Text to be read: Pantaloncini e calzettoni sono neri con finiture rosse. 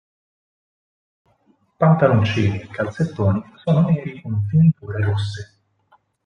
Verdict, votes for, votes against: accepted, 4, 2